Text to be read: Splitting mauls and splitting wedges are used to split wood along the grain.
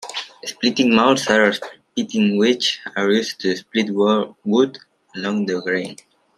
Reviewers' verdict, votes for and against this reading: rejected, 0, 2